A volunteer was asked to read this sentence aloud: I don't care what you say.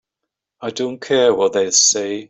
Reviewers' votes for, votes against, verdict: 0, 2, rejected